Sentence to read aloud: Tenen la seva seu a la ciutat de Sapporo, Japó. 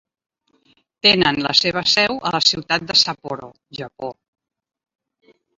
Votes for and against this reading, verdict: 2, 1, accepted